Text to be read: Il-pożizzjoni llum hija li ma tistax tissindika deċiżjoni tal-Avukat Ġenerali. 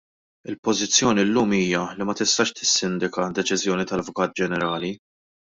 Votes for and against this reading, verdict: 2, 0, accepted